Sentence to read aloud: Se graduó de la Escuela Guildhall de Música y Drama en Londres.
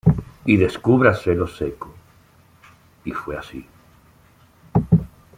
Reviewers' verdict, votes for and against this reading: rejected, 0, 2